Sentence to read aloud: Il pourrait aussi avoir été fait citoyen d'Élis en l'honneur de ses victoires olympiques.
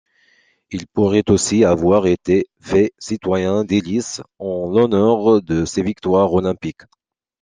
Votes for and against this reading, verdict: 2, 0, accepted